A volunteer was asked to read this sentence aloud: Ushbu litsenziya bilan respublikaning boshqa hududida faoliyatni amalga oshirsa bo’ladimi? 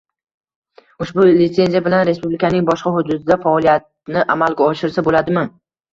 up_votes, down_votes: 2, 0